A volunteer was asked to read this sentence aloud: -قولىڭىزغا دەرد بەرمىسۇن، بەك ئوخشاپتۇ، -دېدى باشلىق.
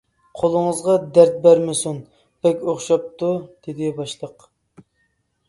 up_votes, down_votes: 2, 0